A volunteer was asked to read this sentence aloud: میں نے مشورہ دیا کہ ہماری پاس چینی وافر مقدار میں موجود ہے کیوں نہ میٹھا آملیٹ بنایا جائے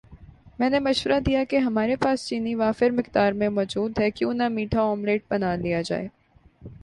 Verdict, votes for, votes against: rejected, 2, 3